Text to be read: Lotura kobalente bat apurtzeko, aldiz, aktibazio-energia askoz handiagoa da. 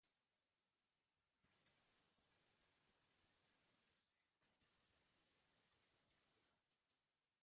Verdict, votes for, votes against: rejected, 0, 3